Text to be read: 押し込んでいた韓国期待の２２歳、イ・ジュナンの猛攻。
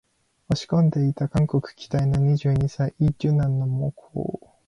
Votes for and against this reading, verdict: 0, 2, rejected